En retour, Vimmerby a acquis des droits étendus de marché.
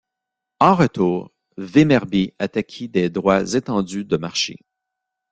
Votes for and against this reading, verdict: 1, 2, rejected